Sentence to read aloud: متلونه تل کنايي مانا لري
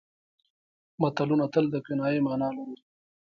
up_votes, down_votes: 0, 2